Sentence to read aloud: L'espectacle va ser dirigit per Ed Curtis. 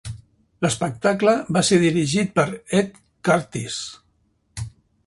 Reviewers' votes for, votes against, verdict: 2, 1, accepted